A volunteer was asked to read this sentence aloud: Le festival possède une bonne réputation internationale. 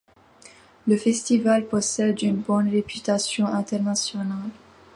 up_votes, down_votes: 2, 0